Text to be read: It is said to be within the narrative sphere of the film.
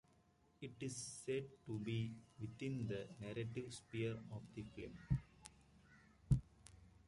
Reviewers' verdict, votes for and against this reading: accepted, 2, 0